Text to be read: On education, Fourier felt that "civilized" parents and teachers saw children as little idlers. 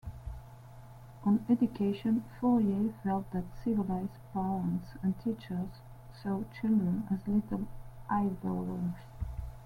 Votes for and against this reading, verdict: 2, 1, accepted